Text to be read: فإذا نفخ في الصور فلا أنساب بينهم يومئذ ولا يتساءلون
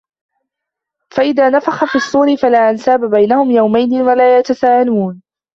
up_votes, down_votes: 3, 2